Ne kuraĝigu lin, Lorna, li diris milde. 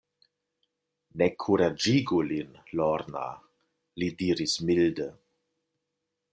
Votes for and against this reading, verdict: 3, 0, accepted